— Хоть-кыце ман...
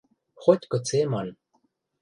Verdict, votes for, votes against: accepted, 2, 0